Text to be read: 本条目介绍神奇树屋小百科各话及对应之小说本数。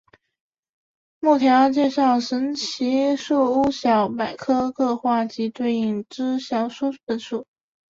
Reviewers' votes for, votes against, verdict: 0, 2, rejected